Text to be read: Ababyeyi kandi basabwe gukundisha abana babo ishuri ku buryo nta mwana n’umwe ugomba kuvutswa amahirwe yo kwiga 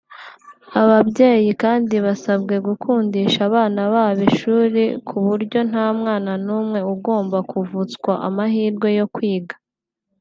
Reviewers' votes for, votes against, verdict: 2, 0, accepted